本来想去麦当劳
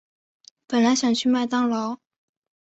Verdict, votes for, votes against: accepted, 2, 0